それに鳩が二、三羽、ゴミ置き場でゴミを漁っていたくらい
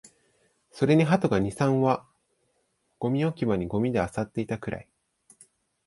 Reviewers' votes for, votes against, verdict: 1, 2, rejected